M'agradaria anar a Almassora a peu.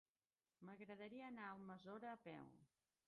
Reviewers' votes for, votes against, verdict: 0, 2, rejected